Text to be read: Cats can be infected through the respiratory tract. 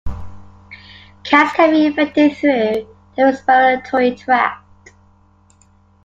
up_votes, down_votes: 2, 0